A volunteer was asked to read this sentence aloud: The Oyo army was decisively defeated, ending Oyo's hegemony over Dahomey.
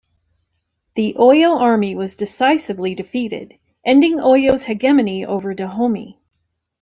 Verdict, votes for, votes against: rejected, 1, 2